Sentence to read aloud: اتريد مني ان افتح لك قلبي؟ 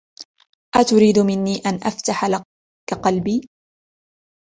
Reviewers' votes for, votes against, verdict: 2, 0, accepted